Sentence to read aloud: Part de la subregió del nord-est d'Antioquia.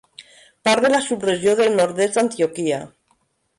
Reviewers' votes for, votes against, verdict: 3, 0, accepted